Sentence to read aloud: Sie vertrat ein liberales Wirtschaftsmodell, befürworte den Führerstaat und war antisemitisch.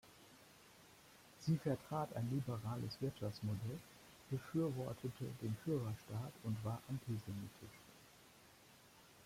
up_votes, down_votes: 1, 2